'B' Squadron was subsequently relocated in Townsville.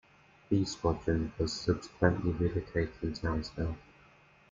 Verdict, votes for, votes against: accepted, 2, 0